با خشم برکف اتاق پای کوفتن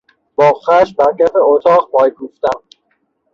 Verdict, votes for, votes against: rejected, 3, 3